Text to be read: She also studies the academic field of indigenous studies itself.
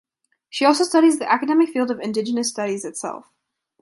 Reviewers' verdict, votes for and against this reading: accepted, 2, 0